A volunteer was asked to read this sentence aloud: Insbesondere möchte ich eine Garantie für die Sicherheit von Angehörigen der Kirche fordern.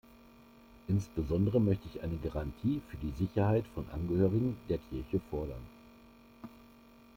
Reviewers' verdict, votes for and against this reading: rejected, 1, 2